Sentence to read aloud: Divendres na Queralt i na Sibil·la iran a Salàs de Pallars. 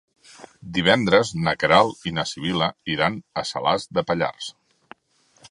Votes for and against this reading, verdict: 3, 0, accepted